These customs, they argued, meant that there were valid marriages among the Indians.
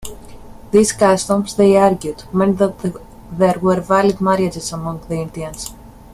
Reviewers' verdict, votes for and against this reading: rejected, 1, 2